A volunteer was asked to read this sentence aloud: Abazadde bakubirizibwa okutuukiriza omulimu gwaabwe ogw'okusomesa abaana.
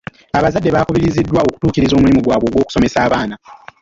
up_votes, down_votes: 1, 2